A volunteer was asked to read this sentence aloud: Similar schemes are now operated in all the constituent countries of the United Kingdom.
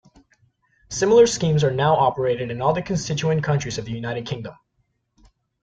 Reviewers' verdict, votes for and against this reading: accepted, 2, 0